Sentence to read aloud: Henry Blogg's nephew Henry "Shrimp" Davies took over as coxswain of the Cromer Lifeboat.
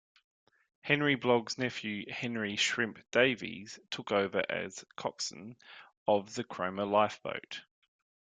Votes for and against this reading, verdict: 2, 0, accepted